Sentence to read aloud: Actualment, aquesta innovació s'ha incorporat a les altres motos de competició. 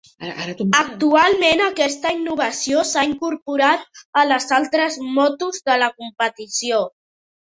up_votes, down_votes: 0, 2